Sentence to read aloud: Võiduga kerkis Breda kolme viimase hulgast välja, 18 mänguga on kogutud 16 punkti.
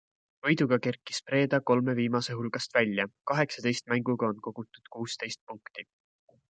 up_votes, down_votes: 0, 2